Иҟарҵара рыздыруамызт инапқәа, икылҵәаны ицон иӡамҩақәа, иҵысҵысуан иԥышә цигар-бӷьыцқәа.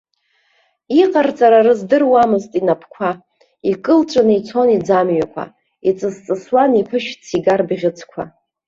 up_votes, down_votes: 0, 2